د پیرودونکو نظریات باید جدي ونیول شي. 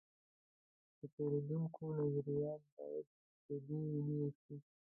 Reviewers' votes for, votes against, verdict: 0, 2, rejected